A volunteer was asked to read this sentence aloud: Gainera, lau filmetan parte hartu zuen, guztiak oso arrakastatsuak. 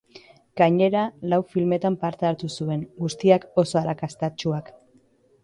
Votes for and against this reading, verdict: 2, 0, accepted